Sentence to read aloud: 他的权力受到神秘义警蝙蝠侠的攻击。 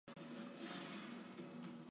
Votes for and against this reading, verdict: 0, 2, rejected